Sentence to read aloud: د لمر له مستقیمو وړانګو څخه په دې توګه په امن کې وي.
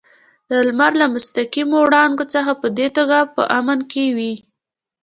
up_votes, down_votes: 2, 0